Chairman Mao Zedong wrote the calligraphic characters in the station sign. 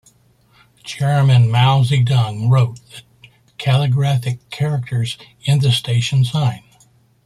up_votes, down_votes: 2, 1